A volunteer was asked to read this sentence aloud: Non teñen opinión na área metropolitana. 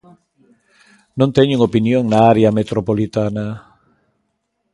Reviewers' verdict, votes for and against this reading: accepted, 2, 0